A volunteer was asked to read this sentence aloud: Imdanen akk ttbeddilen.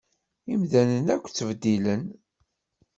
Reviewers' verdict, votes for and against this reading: accepted, 2, 0